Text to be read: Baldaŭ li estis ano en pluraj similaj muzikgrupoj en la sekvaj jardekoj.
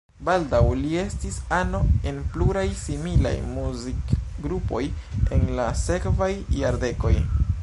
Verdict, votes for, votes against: accepted, 2, 0